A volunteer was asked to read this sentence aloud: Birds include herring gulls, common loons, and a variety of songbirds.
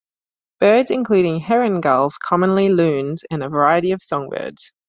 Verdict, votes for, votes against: accepted, 2, 0